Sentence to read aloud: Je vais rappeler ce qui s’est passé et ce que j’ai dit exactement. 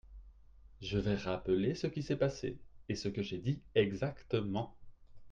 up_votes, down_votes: 2, 1